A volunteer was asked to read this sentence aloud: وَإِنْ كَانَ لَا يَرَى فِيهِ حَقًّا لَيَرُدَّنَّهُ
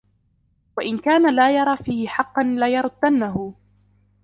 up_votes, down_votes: 1, 2